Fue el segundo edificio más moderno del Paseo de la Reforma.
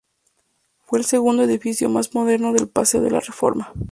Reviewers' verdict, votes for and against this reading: accepted, 2, 0